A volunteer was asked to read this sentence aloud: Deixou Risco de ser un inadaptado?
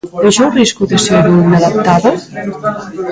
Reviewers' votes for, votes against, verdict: 0, 2, rejected